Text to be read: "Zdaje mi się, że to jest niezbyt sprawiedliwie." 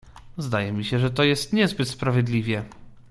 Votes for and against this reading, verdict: 2, 0, accepted